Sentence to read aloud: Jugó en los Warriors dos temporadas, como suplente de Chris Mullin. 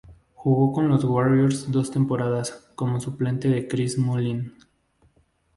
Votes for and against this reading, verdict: 0, 2, rejected